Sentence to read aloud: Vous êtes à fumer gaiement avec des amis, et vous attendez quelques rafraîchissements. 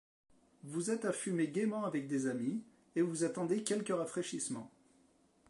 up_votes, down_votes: 0, 2